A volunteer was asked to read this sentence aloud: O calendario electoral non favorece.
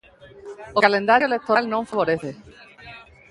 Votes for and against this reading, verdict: 1, 2, rejected